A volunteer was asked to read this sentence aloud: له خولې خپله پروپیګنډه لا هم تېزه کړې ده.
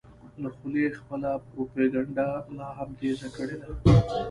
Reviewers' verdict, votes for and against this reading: rejected, 0, 2